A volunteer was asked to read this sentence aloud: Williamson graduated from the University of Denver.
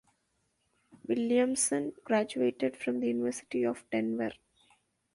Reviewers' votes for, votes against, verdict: 2, 0, accepted